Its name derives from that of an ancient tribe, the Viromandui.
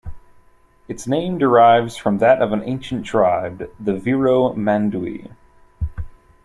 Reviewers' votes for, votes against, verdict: 2, 0, accepted